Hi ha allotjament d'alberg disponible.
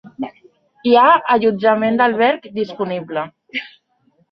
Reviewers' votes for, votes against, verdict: 4, 0, accepted